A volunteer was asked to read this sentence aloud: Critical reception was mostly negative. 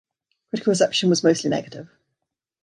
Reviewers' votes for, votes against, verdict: 1, 2, rejected